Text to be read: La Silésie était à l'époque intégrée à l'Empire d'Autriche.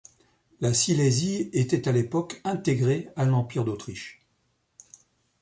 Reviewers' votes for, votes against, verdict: 2, 0, accepted